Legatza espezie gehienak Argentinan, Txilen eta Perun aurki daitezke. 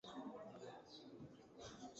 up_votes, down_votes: 0, 2